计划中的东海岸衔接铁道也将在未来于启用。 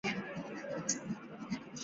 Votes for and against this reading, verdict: 1, 5, rejected